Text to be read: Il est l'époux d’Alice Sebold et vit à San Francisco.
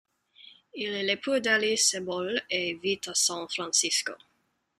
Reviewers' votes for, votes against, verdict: 4, 0, accepted